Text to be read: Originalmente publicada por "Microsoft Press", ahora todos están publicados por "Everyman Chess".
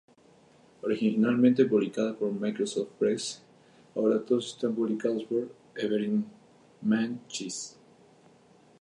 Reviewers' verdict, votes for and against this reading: accepted, 2, 0